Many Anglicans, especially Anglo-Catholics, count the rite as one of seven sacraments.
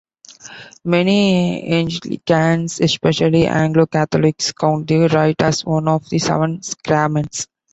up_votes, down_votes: 0, 2